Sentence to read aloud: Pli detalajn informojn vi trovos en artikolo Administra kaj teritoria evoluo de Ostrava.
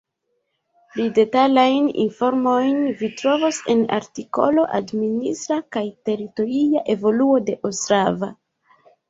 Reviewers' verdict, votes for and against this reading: rejected, 0, 2